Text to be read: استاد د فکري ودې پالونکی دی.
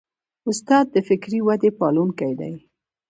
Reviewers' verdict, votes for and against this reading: accepted, 2, 0